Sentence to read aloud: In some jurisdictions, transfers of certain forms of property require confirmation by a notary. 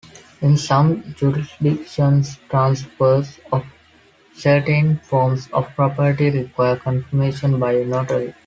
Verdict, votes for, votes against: accepted, 2, 0